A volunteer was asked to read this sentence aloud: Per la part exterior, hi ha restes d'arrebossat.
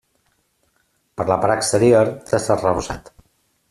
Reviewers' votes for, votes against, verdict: 0, 2, rejected